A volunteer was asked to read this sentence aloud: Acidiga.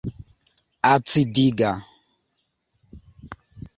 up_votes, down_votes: 2, 0